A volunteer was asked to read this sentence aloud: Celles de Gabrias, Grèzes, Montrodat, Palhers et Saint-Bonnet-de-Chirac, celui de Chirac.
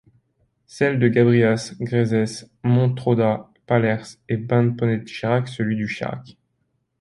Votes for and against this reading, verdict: 0, 2, rejected